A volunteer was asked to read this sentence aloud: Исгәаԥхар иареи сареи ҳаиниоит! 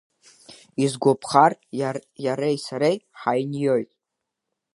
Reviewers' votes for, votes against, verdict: 1, 2, rejected